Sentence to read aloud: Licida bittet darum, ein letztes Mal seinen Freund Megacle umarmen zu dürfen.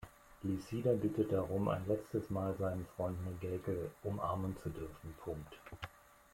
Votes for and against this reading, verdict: 0, 2, rejected